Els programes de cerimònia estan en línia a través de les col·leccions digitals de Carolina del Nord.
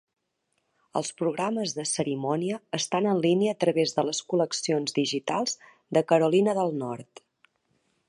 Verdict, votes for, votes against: accepted, 3, 0